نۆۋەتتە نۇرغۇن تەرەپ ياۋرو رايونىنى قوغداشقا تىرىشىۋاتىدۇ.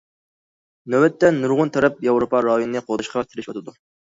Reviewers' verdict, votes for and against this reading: rejected, 0, 2